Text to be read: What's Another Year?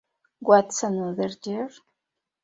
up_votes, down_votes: 2, 0